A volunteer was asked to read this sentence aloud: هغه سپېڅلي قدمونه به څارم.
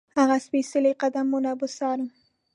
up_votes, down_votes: 2, 0